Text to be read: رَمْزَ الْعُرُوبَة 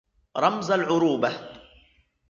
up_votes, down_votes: 2, 0